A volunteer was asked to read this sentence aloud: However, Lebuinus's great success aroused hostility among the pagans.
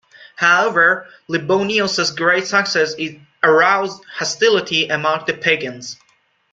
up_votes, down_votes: 2, 1